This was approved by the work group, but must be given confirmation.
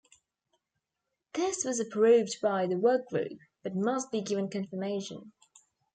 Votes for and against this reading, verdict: 2, 0, accepted